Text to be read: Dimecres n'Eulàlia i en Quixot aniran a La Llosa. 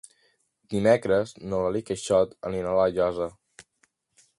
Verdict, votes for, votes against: rejected, 0, 2